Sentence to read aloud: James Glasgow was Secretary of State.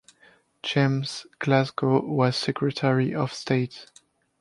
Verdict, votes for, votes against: accepted, 2, 0